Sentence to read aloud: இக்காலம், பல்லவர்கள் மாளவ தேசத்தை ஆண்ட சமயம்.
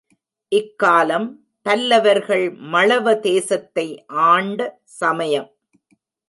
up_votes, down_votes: 0, 2